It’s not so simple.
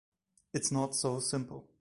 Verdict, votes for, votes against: accepted, 2, 1